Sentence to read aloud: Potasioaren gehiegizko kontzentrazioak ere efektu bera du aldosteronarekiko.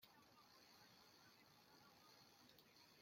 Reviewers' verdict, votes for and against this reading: rejected, 0, 2